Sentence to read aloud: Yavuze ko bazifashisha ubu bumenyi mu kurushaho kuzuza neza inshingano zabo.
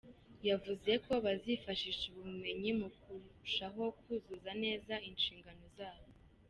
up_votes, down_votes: 2, 0